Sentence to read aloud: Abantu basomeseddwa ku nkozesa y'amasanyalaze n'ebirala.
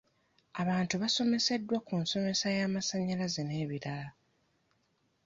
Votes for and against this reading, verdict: 0, 2, rejected